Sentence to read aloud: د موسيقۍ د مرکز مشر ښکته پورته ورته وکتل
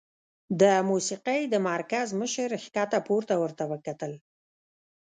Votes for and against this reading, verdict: 1, 2, rejected